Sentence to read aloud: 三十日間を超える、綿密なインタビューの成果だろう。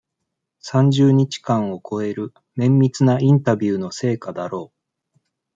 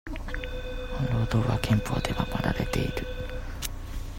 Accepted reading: first